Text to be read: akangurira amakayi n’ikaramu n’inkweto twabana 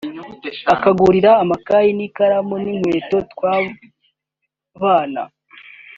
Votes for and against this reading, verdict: 2, 1, accepted